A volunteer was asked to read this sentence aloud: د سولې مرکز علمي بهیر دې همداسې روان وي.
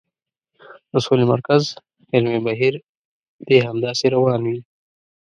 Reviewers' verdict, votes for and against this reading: accepted, 2, 0